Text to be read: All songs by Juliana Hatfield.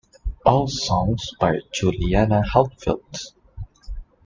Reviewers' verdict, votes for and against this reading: accepted, 2, 1